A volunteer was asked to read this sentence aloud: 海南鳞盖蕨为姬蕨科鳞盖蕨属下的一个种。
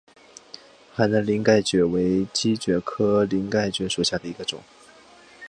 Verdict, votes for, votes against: accepted, 2, 0